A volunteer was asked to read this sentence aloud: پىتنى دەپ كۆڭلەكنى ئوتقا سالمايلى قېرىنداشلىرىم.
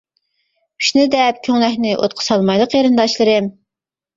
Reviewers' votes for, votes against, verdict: 2, 0, accepted